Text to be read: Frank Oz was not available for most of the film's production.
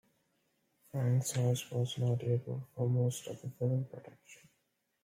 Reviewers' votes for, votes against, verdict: 0, 2, rejected